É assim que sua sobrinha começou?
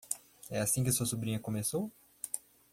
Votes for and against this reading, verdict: 1, 2, rejected